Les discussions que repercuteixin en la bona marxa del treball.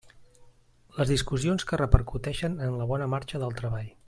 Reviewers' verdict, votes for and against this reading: rejected, 0, 2